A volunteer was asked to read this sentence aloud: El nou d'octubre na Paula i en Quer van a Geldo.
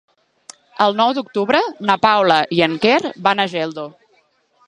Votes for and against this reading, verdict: 4, 0, accepted